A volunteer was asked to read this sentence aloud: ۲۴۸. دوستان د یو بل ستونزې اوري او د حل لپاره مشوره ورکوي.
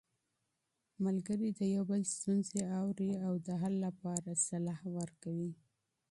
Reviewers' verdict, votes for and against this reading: rejected, 0, 2